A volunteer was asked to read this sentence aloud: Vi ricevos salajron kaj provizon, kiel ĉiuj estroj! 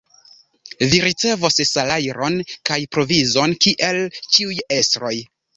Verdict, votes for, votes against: rejected, 1, 2